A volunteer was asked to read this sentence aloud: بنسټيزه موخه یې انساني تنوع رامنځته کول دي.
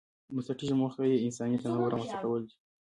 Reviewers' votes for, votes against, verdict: 2, 1, accepted